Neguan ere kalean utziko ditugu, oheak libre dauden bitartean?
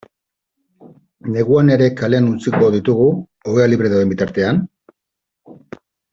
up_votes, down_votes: 0, 2